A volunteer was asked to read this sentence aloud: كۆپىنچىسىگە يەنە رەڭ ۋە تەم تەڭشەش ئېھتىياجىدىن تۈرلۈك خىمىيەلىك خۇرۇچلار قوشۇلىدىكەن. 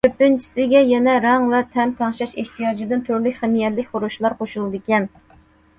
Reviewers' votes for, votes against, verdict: 2, 0, accepted